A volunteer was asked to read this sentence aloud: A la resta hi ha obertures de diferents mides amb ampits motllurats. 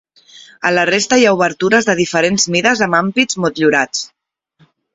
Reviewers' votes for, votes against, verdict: 2, 0, accepted